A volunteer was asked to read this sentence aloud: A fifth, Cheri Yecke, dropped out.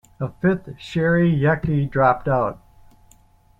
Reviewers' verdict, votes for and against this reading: accepted, 2, 0